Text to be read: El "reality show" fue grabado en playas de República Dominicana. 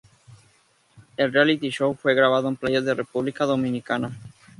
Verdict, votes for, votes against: accepted, 2, 0